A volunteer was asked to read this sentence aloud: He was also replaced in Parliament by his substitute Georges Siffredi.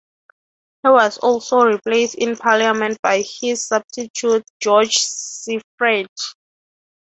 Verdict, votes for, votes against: rejected, 0, 3